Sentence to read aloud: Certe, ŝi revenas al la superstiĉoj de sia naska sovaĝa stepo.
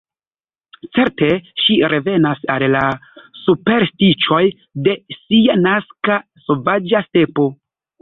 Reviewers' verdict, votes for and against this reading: accepted, 2, 0